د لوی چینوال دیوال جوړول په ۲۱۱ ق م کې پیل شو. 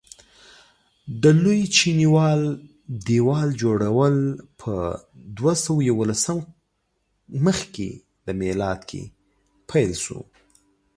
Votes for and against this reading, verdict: 0, 2, rejected